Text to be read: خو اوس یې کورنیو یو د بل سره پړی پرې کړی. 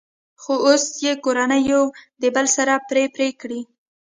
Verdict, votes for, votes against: rejected, 1, 2